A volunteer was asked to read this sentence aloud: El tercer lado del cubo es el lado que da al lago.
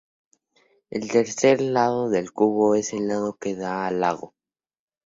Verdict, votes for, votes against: rejected, 0, 2